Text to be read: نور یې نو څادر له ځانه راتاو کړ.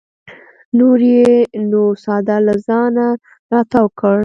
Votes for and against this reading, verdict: 2, 0, accepted